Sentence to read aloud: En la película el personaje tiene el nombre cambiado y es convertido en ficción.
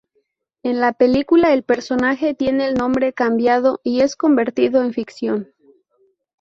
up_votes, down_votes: 0, 2